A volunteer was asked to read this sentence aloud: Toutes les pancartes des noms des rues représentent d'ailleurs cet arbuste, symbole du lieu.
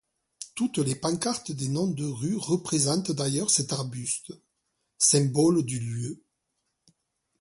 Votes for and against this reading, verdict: 2, 1, accepted